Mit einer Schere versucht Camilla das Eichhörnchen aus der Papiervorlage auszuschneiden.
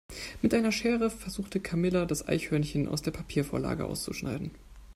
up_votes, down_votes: 0, 2